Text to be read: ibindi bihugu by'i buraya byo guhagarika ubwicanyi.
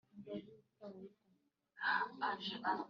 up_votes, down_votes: 1, 2